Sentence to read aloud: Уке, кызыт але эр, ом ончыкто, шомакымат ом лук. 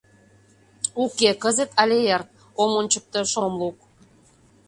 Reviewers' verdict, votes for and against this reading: rejected, 0, 2